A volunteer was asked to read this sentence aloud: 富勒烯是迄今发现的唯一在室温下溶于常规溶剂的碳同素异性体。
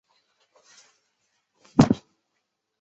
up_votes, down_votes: 0, 2